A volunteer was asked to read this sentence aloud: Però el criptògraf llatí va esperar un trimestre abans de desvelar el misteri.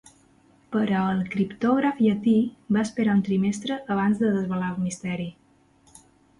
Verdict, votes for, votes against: accepted, 2, 0